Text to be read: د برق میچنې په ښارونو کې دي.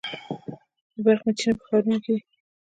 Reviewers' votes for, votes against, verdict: 2, 0, accepted